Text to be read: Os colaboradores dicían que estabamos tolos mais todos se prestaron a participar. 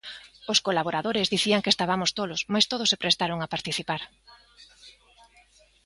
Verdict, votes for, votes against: accepted, 2, 0